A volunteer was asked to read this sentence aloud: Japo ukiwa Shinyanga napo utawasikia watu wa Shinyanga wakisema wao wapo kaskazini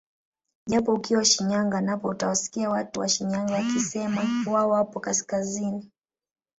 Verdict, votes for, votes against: rejected, 1, 2